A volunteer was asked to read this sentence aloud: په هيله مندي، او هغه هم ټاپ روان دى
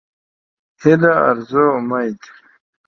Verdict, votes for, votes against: rejected, 1, 2